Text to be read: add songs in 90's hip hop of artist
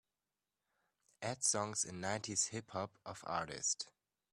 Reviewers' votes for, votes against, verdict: 0, 2, rejected